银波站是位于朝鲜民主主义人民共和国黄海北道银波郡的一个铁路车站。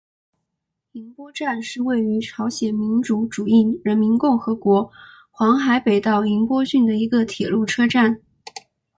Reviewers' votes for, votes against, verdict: 2, 0, accepted